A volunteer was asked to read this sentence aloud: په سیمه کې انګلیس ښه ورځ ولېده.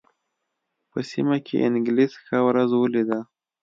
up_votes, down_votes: 2, 0